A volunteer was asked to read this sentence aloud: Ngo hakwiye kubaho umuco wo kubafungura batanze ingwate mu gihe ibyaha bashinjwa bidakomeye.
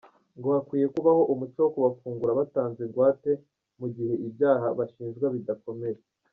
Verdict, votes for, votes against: accepted, 2, 0